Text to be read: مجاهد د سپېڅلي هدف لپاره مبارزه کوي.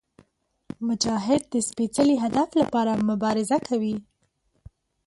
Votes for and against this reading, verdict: 2, 0, accepted